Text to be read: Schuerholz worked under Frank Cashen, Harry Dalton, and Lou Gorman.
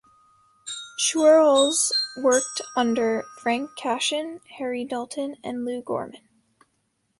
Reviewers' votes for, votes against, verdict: 1, 2, rejected